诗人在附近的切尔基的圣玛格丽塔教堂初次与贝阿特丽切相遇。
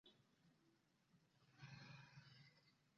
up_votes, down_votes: 0, 2